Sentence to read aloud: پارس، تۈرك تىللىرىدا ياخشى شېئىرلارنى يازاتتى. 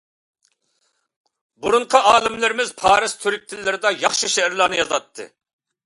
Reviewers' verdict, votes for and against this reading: rejected, 0, 2